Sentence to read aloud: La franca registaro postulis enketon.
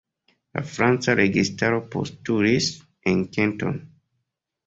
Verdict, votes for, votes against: rejected, 0, 2